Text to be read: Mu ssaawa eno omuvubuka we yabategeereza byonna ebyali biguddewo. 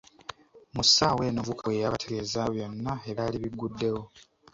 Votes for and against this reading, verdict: 1, 2, rejected